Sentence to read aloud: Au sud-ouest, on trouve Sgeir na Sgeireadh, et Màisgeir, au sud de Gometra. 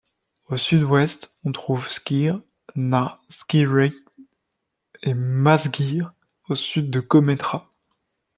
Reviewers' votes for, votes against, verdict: 0, 2, rejected